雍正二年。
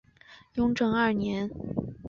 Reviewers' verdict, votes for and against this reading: accepted, 5, 0